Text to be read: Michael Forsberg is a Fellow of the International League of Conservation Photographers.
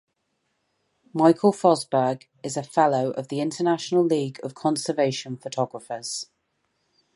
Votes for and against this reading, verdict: 2, 2, rejected